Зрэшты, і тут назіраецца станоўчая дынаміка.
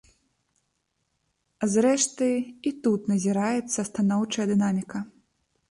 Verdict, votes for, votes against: rejected, 0, 2